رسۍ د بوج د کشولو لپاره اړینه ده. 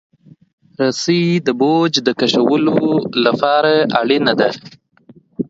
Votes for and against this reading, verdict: 1, 2, rejected